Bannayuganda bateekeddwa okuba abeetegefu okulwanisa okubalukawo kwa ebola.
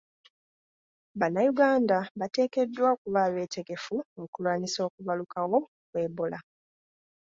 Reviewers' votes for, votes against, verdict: 2, 0, accepted